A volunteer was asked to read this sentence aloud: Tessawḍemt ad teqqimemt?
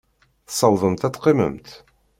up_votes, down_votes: 2, 0